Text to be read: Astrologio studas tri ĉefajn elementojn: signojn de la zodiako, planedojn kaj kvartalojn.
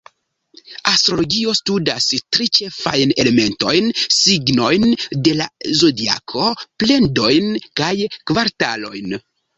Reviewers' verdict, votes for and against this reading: rejected, 1, 2